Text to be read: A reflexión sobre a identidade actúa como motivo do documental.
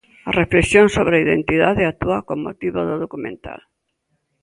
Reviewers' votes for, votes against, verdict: 0, 2, rejected